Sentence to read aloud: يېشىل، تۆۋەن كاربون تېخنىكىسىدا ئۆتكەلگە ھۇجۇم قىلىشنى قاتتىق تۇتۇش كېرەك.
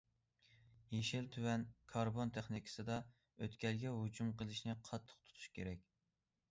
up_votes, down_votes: 2, 0